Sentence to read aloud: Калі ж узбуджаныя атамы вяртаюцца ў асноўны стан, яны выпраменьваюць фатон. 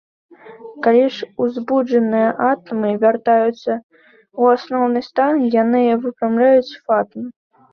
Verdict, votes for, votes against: rejected, 0, 2